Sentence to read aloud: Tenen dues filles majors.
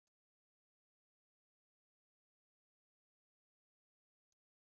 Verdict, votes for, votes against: rejected, 0, 2